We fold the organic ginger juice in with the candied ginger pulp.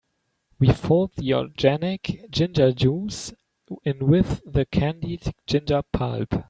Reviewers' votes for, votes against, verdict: 0, 2, rejected